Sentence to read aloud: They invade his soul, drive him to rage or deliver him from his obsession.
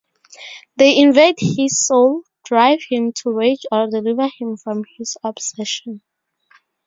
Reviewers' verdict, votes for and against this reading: rejected, 0, 2